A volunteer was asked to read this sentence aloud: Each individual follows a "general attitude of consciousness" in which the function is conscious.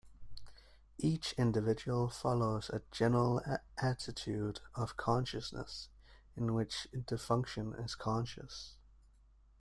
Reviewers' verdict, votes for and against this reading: rejected, 0, 2